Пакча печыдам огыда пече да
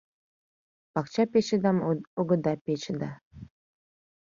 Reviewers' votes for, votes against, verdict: 2, 1, accepted